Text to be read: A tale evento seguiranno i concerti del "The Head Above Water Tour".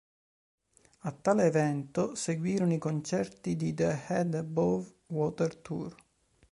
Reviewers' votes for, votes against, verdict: 0, 2, rejected